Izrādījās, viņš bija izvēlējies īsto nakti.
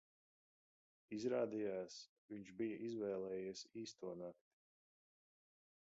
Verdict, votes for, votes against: accepted, 2, 0